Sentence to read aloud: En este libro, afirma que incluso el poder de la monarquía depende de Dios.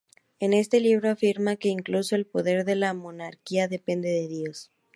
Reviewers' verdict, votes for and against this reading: accepted, 2, 0